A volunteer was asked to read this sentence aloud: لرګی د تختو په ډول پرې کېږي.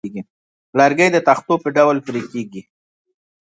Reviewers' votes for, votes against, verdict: 2, 0, accepted